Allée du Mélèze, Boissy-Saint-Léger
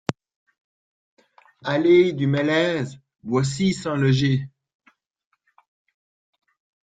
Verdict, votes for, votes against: rejected, 0, 2